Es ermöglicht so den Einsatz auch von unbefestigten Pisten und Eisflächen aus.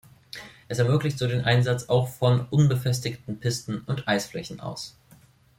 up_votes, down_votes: 2, 0